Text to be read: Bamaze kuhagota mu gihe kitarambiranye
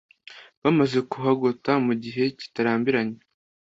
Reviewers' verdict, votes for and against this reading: accepted, 2, 0